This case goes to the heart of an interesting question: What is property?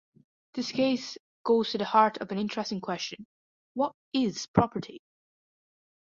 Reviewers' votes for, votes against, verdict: 1, 2, rejected